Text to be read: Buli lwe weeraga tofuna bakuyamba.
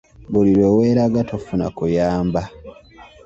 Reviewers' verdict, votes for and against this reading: rejected, 0, 2